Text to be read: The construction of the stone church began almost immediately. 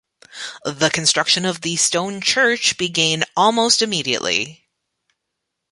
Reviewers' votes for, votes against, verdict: 0, 2, rejected